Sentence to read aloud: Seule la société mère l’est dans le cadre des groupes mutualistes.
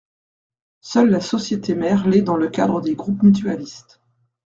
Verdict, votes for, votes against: accepted, 2, 0